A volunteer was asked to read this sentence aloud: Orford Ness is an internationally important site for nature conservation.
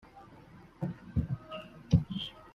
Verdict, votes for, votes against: rejected, 0, 2